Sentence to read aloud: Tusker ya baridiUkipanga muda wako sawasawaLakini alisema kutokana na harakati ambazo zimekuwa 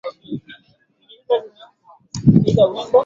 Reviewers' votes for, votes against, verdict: 0, 7, rejected